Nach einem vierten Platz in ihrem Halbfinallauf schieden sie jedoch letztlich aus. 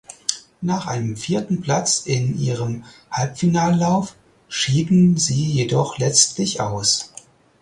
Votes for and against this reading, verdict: 4, 0, accepted